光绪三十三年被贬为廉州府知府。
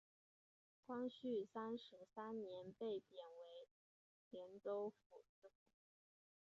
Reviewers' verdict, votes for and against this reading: rejected, 0, 6